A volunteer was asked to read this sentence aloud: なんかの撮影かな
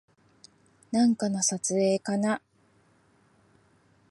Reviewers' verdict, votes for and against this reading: accepted, 2, 0